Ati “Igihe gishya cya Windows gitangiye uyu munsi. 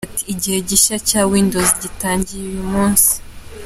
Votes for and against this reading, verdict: 2, 0, accepted